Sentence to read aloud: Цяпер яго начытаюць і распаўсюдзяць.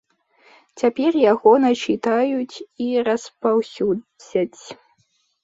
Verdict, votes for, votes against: accepted, 2, 1